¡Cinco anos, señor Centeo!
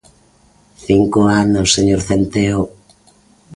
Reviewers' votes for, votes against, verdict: 2, 0, accepted